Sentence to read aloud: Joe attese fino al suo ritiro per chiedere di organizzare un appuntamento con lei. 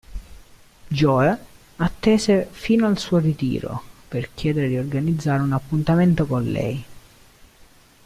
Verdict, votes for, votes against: rejected, 0, 2